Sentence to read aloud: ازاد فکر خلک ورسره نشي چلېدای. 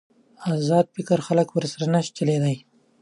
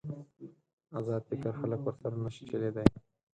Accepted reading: first